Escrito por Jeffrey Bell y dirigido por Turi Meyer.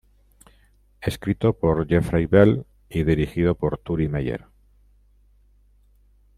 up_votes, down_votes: 0, 2